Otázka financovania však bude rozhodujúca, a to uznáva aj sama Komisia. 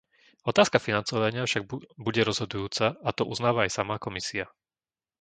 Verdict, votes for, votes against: rejected, 0, 2